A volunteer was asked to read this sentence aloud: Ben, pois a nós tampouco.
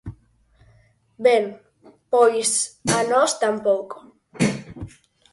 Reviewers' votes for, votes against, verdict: 4, 0, accepted